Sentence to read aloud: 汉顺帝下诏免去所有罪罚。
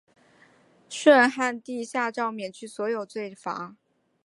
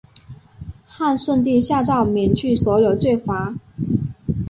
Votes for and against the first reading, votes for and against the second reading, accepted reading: 1, 2, 7, 0, second